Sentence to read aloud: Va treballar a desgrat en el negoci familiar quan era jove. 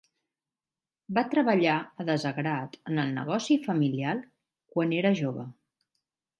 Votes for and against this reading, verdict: 1, 2, rejected